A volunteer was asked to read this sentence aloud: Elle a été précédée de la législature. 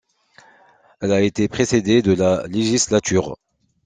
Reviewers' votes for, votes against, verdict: 2, 0, accepted